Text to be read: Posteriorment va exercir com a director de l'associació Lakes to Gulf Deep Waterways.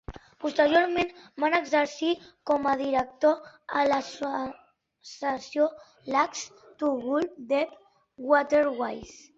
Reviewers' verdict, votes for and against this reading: rejected, 0, 2